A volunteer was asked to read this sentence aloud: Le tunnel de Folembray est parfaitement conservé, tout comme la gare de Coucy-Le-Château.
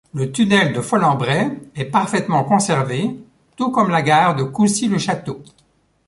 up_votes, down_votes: 2, 0